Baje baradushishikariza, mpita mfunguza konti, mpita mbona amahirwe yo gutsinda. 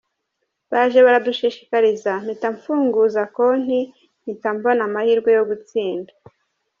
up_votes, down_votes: 1, 2